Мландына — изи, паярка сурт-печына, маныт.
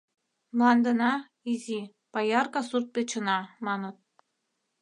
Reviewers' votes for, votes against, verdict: 2, 0, accepted